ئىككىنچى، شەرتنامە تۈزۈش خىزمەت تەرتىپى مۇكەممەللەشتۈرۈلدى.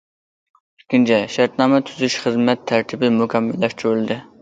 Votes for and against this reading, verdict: 0, 2, rejected